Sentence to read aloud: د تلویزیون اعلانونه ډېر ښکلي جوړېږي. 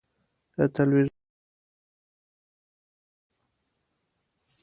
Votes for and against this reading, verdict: 0, 2, rejected